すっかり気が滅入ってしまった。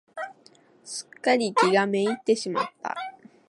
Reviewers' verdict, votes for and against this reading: accepted, 2, 0